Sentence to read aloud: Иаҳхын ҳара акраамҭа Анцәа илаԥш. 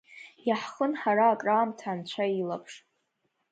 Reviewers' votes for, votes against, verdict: 2, 0, accepted